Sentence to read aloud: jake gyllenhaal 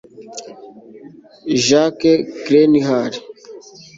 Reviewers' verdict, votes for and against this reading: rejected, 1, 2